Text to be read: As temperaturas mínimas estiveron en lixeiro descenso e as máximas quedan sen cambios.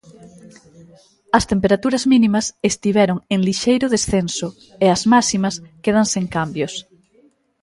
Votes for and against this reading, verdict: 2, 0, accepted